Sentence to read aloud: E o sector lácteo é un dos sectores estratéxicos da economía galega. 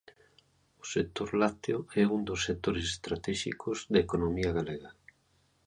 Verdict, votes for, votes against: rejected, 0, 2